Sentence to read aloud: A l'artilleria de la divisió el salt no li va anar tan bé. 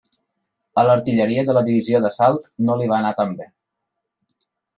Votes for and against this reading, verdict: 0, 2, rejected